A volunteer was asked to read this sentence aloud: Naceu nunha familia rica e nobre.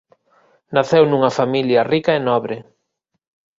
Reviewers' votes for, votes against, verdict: 2, 0, accepted